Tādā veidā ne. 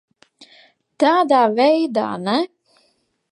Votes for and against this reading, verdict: 4, 0, accepted